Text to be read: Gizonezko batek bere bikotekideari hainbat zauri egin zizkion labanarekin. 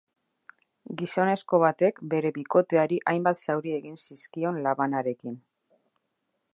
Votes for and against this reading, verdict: 0, 2, rejected